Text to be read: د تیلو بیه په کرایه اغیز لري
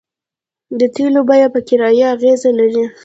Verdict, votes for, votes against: accepted, 2, 0